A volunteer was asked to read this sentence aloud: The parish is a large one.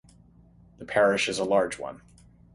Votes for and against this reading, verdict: 3, 3, rejected